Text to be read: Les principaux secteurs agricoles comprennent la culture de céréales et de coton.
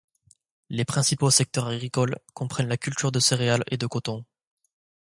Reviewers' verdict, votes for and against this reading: accepted, 2, 0